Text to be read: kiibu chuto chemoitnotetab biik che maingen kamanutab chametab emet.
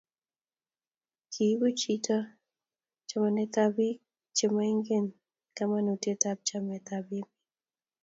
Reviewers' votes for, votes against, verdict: 0, 2, rejected